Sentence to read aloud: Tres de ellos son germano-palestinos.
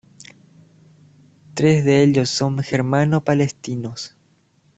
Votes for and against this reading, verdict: 2, 0, accepted